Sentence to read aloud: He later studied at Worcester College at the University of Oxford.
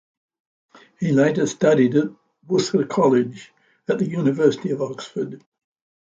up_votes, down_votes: 0, 2